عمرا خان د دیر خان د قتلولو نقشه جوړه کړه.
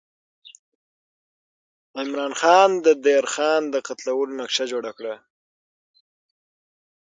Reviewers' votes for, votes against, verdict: 3, 15, rejected